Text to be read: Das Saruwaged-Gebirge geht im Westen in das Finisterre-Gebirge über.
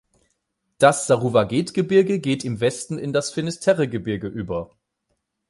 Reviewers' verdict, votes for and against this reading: accepted, 8, 0